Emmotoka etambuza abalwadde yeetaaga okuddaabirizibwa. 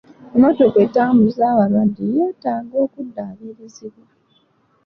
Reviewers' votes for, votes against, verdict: 2, 0, accepted